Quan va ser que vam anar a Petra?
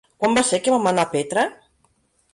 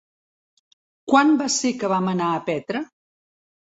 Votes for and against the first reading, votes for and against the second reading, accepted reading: 1, 2, 3, 0, second